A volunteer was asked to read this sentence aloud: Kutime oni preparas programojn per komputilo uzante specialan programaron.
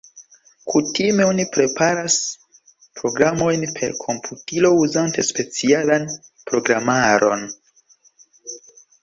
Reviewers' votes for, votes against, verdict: 2, 0, accepted